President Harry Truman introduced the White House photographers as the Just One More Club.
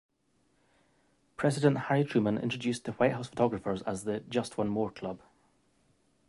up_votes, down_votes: 2, 0